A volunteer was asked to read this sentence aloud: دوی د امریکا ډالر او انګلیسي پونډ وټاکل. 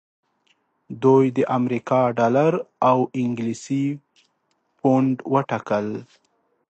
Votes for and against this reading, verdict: 2, 0, accepted